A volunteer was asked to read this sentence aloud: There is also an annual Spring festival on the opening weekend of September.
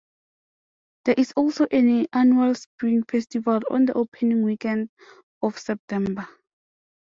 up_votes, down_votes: 0, 2